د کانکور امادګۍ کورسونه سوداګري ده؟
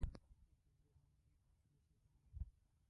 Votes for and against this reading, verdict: 0, 2, rejected